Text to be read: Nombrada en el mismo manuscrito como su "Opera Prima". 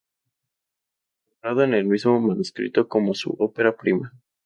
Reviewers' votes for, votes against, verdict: 0, 2, rejected